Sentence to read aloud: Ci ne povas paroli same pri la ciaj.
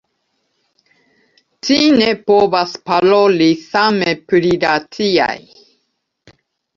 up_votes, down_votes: 1, 2